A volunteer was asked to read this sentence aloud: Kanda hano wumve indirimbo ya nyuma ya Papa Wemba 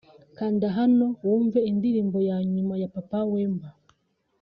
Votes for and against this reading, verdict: 2, 0, accepted